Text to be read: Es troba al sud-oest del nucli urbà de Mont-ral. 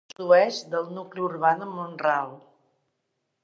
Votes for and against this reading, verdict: 0, 2, rejected